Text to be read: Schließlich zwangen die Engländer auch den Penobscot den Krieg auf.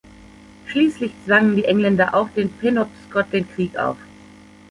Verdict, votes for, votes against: accepted, 2, 1